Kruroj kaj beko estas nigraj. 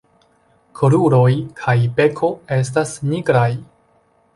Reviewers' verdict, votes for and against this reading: accepted, 2, 0